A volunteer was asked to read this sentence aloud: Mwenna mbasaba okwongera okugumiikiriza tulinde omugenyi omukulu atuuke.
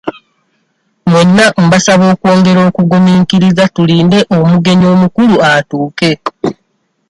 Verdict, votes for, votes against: accepted, 2, 0